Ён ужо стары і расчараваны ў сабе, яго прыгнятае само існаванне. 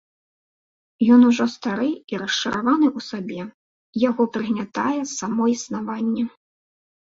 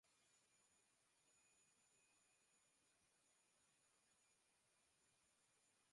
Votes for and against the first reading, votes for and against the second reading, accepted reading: 2, 0, 0, 2, first